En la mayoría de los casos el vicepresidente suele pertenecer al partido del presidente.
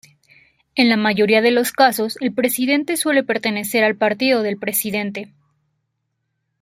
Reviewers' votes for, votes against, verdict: 1, 2, rejected